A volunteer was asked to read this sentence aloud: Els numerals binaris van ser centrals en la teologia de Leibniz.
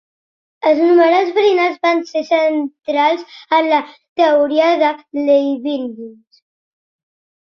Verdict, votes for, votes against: rejected, 0, 2